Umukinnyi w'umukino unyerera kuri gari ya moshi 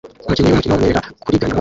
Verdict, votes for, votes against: rejected, 0, 2